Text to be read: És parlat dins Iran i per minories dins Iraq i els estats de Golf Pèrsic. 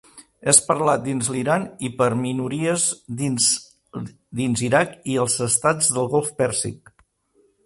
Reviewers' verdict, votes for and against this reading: rejected, 0, 2